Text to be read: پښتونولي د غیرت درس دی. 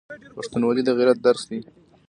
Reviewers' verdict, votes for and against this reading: accepted, 3, 0